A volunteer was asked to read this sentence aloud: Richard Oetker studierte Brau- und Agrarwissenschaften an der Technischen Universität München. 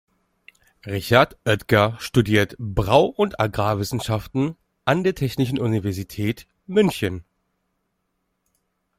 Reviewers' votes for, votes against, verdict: 0, 2, rejected